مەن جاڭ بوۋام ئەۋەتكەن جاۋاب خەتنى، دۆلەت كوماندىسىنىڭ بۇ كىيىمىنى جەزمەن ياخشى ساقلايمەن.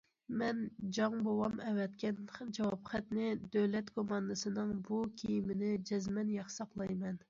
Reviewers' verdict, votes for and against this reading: rejected, 1, 2